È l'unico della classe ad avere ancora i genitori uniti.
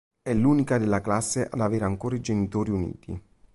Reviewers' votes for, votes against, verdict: 1, 2, rejected